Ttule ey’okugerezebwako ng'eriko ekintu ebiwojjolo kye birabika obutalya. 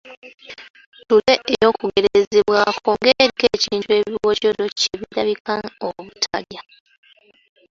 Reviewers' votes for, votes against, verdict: 0, 2, rejected